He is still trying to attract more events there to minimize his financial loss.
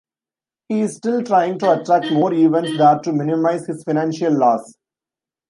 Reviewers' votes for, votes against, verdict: 0, 2, rejected